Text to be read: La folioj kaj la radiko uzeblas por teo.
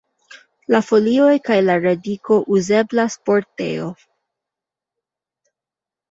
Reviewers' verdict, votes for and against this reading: rejected, 0, 2